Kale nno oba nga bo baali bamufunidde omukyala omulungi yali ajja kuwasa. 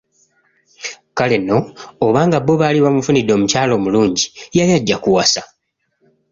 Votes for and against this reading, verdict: 2, 0, accepted